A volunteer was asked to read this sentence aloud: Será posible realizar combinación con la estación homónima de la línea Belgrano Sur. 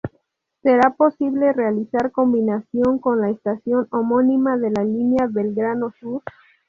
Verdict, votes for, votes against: accepted, 2, 0